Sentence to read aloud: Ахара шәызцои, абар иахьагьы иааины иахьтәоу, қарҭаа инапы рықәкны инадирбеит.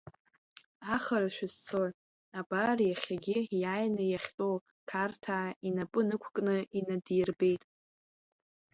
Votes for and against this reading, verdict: 2, 0, accepted